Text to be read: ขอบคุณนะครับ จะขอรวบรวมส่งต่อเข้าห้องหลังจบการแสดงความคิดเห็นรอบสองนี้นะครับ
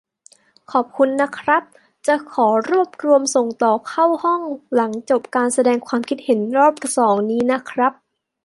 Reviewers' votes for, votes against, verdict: 2, 0, accepted